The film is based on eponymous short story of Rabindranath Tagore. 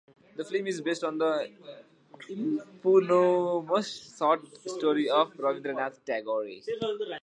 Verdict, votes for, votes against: rejected, 0, 2